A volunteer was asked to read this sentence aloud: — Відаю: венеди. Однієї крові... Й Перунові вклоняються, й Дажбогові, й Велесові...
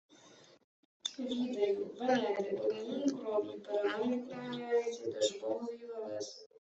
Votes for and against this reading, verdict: 1, 2, rejected